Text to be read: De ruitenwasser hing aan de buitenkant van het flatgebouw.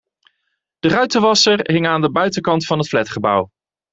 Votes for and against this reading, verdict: 2, 0, accepted